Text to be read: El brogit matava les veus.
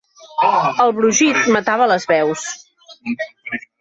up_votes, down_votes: 0, 2